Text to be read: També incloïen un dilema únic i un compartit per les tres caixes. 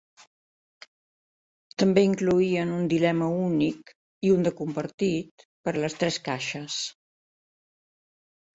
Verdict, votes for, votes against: rejected, 0, 2